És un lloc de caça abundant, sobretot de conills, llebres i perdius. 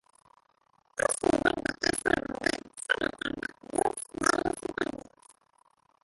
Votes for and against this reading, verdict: 0, 2, rejected